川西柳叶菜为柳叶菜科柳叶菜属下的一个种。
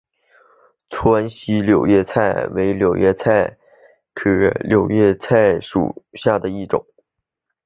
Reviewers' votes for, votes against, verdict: 0, 2, rejected